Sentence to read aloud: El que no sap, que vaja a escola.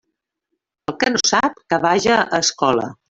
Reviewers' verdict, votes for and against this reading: accepted, 3, 0